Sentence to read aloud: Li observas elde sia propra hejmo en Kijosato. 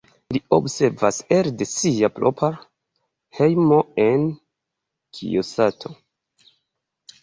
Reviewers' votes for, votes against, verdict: 2, 1, accepted